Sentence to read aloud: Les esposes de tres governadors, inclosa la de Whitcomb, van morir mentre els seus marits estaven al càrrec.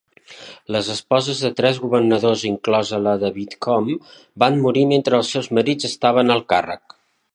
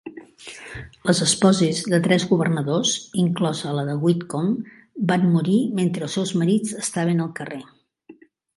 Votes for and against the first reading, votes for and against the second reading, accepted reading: 2, 0, 1, 2, first